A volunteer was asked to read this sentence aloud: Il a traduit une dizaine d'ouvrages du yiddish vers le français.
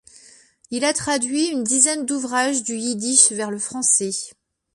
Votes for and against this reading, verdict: 2, 0, accepted